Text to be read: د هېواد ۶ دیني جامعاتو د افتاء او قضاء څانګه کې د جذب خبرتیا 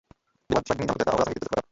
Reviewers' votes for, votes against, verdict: 0, 2, rejected